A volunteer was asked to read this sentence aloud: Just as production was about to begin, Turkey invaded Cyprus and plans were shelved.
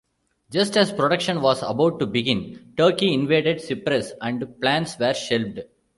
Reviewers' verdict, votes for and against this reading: accepted, 2, 0